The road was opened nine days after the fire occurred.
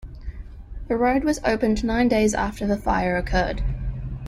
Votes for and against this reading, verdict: 2, 1, accepted